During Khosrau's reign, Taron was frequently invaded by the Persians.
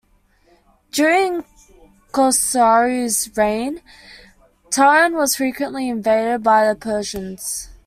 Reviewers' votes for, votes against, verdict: 1, 2, rejected